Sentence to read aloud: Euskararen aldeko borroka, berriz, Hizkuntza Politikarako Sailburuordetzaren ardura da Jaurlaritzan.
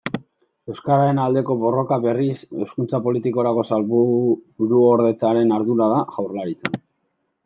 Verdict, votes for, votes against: rejected, 0, 2